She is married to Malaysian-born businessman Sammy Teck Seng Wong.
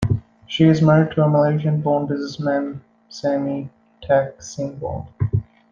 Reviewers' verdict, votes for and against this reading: accepted, 2, 0